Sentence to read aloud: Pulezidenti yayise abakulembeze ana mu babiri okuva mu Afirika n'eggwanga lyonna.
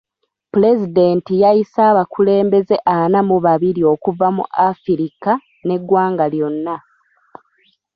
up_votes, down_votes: 2, 1